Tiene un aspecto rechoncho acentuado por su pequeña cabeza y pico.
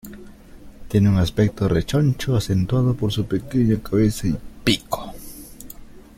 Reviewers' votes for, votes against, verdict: 1, 2, rejected